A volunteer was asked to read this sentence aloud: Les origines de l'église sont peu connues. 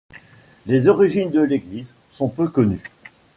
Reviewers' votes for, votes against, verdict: 2, 0, accepted